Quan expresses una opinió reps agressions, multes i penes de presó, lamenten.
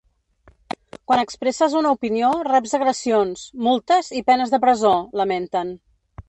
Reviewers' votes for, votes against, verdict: 1, 2, rejected